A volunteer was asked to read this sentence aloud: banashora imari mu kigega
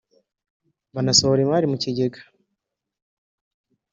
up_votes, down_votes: 0, 2